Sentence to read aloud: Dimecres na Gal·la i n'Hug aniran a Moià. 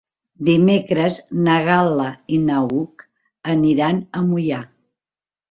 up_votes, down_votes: 0, 2